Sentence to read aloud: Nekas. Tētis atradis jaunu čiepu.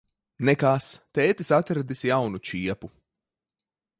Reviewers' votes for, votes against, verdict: 2, 1, accepted